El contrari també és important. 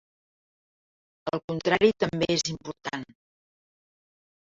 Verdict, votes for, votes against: accepted, 3, 0